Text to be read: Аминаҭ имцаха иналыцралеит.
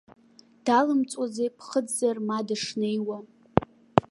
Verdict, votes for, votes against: rejected, 1, 2